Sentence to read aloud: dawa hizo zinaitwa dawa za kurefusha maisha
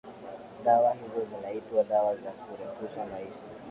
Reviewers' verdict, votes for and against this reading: accepted, 2, 0